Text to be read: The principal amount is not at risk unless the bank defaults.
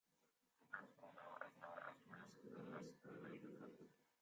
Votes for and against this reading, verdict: 0, 2, rejected